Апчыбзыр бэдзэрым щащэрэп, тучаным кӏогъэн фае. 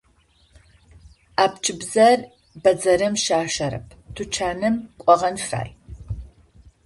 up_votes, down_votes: 0, 2